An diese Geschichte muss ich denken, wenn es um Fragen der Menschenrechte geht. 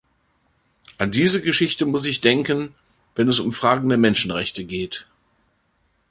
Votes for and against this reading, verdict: 2, 0, accepted